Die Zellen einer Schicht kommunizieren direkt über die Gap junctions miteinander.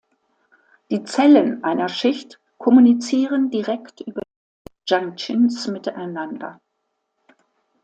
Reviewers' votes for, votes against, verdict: 0, 2, rejected